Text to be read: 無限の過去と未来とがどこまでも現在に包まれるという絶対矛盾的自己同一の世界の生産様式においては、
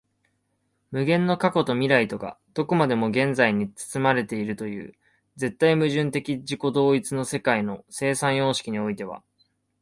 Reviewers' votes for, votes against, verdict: 2, 0, accepted